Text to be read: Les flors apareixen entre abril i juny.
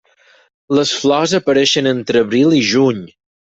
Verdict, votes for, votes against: accepted, 6, 0